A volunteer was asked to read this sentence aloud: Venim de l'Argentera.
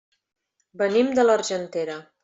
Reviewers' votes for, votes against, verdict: 3, 0, accepted